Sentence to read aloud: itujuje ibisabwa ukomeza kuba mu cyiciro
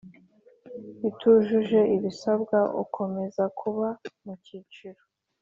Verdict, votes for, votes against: accepted, 2, 0